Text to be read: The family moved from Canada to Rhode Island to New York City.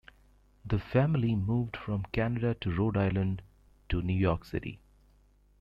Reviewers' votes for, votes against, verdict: 2, 0, accepted